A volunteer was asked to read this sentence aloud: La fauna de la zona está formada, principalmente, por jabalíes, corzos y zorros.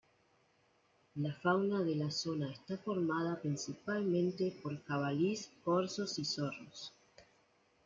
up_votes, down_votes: 0, 2